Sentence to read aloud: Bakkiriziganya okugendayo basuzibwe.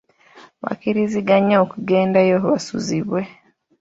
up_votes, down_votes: 2, 1